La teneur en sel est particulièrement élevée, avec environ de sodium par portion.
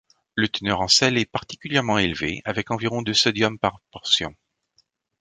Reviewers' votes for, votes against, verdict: 2, 1, accepted